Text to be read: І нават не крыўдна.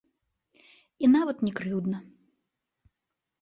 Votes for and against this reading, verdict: 2, 1, accepted